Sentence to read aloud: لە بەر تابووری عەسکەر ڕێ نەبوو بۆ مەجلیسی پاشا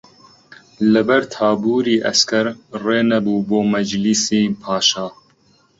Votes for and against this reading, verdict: 2, 0, accepted